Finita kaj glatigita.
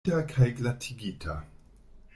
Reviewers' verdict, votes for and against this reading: rejected, 0, 2